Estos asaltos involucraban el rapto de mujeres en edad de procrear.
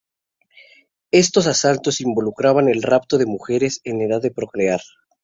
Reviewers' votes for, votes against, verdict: 2, 0, accepted